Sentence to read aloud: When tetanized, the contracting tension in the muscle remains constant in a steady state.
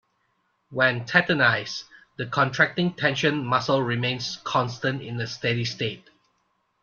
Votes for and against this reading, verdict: 1, 2, rejected